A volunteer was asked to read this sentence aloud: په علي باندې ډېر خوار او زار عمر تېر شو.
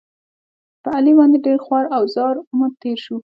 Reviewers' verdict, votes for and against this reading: accepted, 2, 0